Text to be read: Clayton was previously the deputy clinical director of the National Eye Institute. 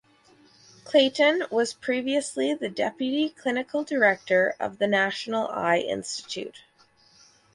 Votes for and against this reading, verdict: 4, 0, accepted